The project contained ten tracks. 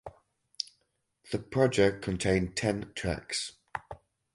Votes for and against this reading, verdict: 4, 0, accepted